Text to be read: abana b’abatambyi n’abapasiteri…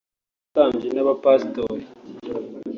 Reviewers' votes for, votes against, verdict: 1, 2, rejected